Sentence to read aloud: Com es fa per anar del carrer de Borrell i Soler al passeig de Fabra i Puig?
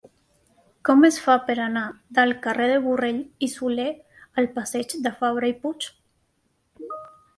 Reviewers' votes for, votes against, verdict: 2, 0, accepted